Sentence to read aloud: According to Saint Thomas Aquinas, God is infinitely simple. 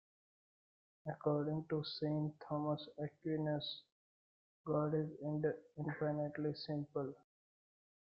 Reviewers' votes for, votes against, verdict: 0, 2, rejected